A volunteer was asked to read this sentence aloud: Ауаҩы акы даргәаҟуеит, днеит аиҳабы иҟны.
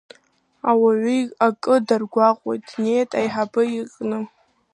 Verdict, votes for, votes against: rejected, 1, 2